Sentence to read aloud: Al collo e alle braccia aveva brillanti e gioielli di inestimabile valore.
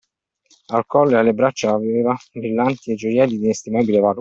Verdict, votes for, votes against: rejected, 1, 2